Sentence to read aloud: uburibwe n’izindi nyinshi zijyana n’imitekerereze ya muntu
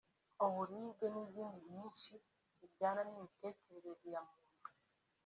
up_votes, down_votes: 2, 0